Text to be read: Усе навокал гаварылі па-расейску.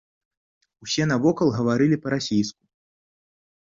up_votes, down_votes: 2, 1